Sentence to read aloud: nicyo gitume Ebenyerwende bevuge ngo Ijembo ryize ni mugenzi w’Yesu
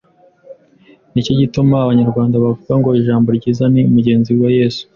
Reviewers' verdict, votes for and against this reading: rejected, 1, 2